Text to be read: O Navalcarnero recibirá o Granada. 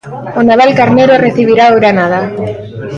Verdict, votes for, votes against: accepted, 2, 0